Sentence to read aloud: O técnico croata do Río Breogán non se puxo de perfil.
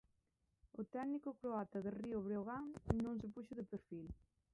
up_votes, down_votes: 0, 2